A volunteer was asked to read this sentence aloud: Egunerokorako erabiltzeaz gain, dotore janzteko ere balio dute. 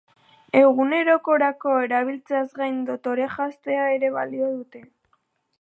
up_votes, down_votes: 2, 2